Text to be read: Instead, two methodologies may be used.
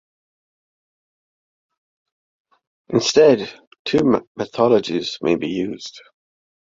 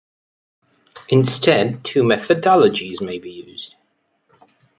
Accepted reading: second